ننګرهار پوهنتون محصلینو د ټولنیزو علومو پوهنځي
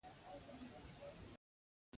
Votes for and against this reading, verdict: 0, 2, rejected